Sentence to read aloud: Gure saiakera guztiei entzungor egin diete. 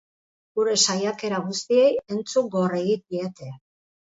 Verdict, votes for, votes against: accepted, 2, 0